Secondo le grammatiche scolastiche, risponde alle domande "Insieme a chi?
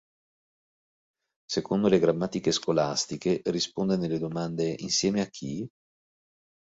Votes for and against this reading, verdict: 1, 2, rejected